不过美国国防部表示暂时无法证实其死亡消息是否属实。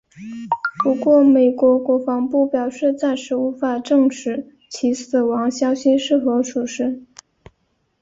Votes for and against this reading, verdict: 3, 0, accepted